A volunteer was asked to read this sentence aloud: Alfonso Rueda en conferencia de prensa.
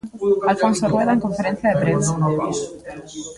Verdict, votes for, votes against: rejected, 0, 2